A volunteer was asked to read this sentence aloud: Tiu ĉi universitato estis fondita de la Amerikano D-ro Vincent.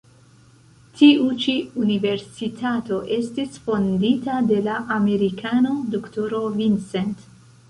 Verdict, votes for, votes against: rejected, 3, 4